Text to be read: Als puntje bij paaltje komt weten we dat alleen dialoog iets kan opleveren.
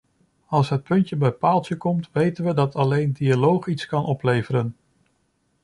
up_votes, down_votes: 1, 2